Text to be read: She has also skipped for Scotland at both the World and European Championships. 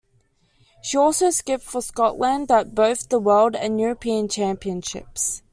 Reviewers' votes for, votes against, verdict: 1, 2, rejected